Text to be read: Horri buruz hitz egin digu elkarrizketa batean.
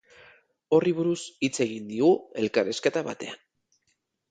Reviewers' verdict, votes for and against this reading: accepted, 2, 0